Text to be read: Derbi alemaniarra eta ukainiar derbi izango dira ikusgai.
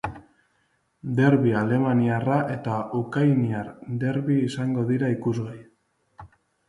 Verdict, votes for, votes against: accepted, 2, 0